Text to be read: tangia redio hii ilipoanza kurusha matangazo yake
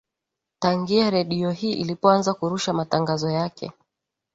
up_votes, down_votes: 2, 1